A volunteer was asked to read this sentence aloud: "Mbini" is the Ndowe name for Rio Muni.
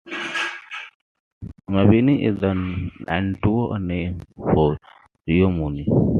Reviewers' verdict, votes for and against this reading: rejected, 0, 2